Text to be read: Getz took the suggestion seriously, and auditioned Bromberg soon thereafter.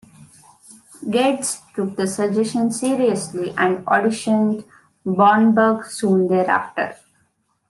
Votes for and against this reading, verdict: 3, 0, accepted